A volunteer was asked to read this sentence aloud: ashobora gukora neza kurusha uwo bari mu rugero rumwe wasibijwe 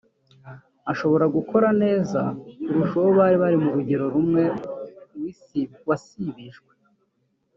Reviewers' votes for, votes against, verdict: 1, 2, rejected